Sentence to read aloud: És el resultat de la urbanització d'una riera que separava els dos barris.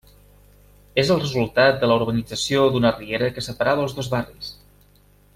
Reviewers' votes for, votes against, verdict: 3, 2, accepted